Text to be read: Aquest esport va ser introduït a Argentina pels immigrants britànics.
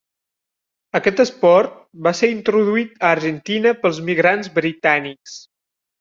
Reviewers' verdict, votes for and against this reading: rejected, 0, 2